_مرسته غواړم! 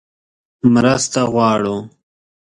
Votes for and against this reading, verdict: 1, 2, rejected